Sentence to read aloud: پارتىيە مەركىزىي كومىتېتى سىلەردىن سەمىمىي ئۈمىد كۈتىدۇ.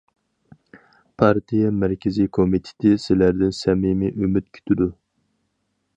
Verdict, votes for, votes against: accepted, 4, 0